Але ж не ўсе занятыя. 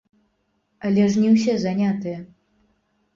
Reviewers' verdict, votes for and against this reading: rejected, 0, 2